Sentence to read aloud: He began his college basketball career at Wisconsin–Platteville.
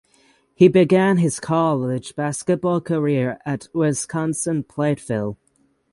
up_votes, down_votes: 3, 3